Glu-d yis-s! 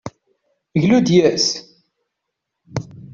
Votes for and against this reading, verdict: 2, 0, accepted